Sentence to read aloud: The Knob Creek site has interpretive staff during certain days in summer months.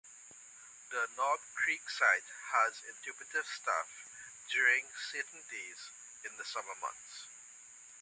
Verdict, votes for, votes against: rejected, 1, 2